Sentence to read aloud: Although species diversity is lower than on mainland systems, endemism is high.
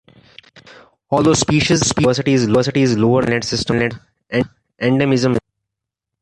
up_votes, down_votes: 0, 2